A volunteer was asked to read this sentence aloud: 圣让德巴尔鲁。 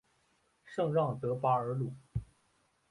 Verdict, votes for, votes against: accepted, 5, 0